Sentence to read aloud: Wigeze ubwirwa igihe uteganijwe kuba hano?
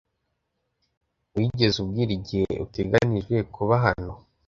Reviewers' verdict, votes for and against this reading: rejected, 1, 2